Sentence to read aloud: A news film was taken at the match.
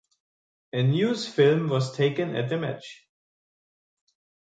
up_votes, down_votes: 0, 2